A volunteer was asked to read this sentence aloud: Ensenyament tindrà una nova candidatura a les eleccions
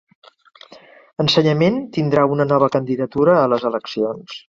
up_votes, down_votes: 4, 1